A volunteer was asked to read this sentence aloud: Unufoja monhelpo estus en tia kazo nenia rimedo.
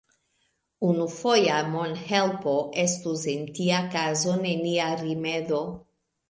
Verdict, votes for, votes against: accepted, 2, 0